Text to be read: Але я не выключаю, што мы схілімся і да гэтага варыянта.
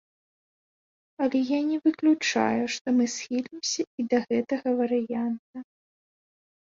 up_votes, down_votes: 3, 0